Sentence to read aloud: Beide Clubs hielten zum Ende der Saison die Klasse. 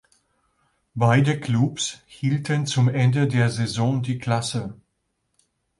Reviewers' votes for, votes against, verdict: 2, 0, accepted